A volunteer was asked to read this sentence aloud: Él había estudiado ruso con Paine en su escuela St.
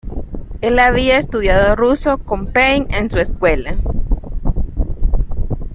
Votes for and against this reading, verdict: 0, 2, rejected